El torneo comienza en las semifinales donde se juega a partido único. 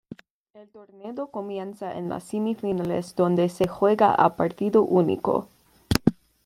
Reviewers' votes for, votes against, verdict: 2, 0, accepted